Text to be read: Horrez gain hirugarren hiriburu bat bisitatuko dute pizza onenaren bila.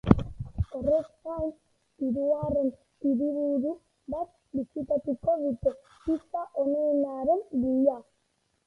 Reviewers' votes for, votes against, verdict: 0, 3, rejected